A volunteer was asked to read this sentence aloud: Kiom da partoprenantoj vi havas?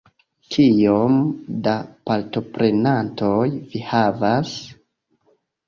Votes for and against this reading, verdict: 2, 1, accepted